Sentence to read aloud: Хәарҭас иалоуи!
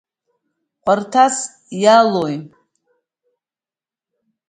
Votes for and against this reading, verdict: 2, 1, accepted